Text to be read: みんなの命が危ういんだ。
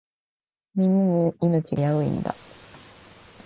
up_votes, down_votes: 0, 2